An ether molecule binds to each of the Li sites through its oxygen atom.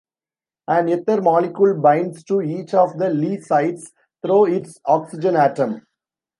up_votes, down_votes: 0, 2